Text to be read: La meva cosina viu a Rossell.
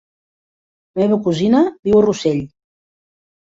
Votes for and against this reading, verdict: 1, 2, rejected